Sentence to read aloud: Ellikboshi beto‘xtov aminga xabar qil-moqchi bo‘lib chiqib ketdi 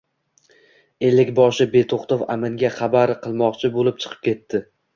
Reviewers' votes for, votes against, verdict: 2, 0, accepted